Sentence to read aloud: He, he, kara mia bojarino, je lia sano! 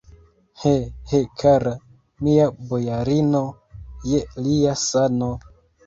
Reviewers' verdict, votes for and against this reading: accepted, 2, 1